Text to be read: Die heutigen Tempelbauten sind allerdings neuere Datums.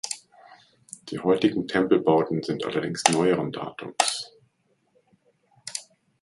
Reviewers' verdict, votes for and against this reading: rejected, 0, 2